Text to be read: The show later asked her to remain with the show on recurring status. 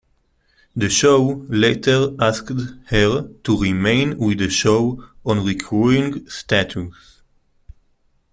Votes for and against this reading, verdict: 2, 0, accepted